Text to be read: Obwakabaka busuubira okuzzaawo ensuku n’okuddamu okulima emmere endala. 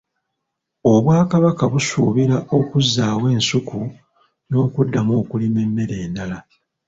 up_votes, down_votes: 1, 2